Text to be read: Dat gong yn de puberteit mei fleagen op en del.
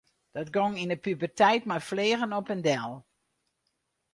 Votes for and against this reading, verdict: 0, 2, rejected